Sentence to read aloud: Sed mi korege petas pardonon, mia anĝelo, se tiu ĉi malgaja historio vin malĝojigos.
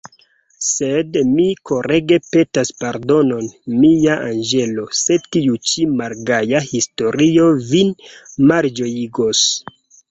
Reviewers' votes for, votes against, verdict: 1, 2, rejected